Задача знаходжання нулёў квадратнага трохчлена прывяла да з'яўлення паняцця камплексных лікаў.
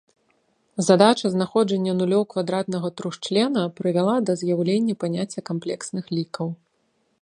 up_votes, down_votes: 2, 0